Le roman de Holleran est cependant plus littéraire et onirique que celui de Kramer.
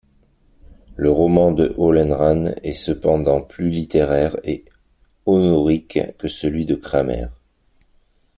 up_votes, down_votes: 1, 2